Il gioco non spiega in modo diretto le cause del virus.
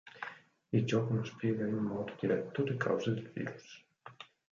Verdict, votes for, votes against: accepted, 4, 2